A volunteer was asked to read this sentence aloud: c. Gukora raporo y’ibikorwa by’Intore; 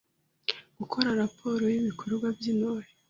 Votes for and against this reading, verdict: 2, 0, accepted